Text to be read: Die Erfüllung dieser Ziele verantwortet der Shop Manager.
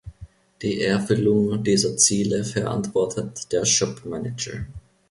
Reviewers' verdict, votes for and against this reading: accepted, 2, 0